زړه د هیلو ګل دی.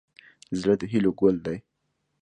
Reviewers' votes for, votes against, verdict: 2, 0, accepted